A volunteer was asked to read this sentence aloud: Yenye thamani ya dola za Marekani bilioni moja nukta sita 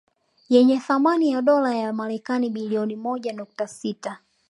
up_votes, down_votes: 2, 0